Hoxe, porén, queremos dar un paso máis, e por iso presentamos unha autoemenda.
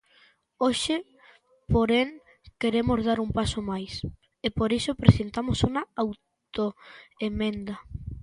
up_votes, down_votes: 2, 0